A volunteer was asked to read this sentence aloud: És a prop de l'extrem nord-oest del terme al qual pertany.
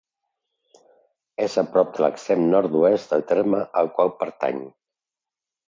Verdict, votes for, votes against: accepted, 2, 0